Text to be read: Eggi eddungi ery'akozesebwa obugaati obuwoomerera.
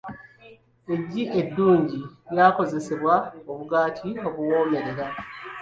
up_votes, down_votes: 1, 2